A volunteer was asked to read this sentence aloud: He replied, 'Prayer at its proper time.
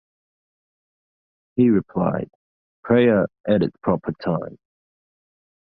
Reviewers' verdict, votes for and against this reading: rejected, 0, 2